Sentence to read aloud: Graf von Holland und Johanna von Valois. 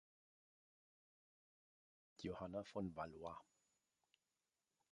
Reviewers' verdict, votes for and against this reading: rejected, 0, 2